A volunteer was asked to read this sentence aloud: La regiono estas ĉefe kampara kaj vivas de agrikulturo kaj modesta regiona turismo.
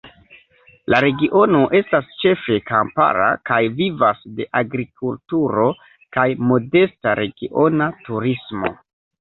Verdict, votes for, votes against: accepted, 2, 0